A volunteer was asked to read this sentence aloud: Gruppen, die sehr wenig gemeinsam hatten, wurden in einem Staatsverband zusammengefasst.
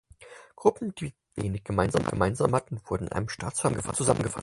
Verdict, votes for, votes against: rejected, 0, 4